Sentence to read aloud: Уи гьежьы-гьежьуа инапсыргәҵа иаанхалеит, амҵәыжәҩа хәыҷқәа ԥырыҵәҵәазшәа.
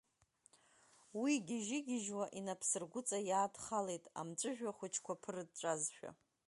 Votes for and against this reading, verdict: 1, 2, rejected